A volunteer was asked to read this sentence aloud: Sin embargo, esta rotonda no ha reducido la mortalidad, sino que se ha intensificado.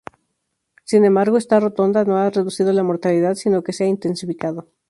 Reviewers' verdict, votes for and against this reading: accepted, 2, 0